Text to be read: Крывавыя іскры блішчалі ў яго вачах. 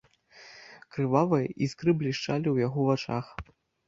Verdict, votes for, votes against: accepted, 2, 0